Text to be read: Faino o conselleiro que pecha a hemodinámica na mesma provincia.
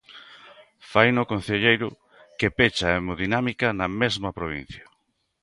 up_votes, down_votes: 0, 2